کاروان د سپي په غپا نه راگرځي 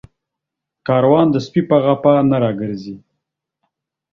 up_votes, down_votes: 2, 1